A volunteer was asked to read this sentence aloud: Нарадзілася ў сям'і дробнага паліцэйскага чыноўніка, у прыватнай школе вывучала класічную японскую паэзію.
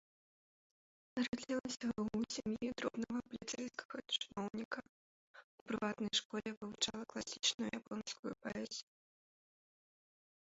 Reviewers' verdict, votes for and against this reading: rejected, 1, 2